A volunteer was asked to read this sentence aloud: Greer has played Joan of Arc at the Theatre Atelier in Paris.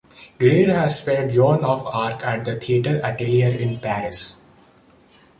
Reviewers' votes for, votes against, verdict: 2, 1, accepted